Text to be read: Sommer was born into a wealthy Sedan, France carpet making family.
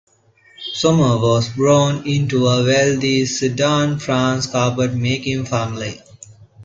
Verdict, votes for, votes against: accepted, 2, 1